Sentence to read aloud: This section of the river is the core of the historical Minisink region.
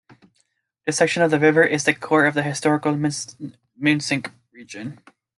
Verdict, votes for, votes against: accepted, 2, 1